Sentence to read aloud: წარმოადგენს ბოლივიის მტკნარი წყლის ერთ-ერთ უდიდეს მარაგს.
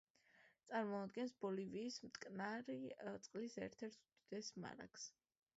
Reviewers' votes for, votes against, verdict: 2, 0, accepted